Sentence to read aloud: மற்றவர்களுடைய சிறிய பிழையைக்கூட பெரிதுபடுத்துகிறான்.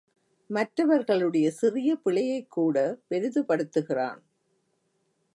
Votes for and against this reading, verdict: 2, 0, accepted